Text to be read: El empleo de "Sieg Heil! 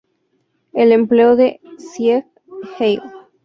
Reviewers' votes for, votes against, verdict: 2, 0, accepted